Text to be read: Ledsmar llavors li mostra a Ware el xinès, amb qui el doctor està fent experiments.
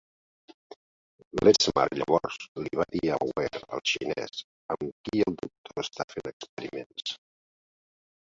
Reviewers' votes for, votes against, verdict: 0, 2, rejected